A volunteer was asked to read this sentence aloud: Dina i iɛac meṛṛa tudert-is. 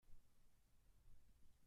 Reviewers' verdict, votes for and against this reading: rejected, 1, 2